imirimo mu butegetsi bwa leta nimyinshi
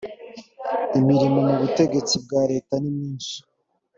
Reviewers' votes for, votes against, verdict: 3, 0, accepted